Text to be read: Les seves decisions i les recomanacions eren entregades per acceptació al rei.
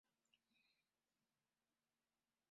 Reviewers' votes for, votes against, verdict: 0, 2, rejected